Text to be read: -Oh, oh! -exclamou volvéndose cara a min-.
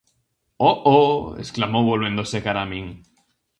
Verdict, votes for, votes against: accepted, 2, 0